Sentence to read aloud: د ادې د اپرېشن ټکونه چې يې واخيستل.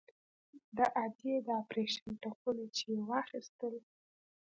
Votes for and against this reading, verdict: 2, 1, accepted